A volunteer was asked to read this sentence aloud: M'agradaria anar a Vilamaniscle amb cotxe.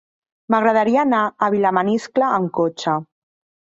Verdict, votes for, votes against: accepted, 3, 0